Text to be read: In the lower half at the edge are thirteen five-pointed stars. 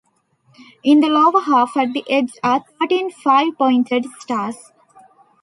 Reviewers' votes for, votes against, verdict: 1, 2, rejected